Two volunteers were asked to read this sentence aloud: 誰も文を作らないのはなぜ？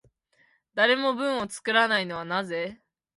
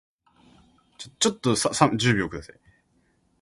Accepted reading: first